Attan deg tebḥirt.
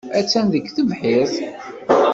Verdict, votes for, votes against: accepted, 2, 0